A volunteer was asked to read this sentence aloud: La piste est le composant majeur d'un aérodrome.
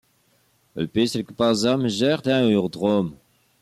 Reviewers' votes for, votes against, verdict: 2, 1, accepted